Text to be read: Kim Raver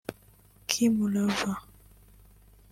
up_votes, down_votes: 1, 2